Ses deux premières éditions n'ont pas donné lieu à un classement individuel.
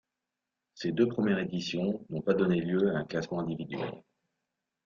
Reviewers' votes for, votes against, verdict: 2, 0, accepted